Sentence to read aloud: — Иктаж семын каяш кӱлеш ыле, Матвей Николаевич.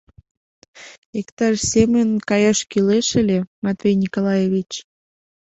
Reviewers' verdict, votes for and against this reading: accepted, 2, 0